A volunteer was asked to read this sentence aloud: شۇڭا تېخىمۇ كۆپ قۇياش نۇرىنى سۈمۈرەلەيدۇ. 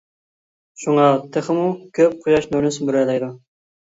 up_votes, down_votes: 2, 0